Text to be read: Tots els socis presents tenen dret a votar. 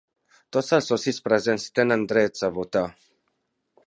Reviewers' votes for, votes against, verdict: 0, 2, rejected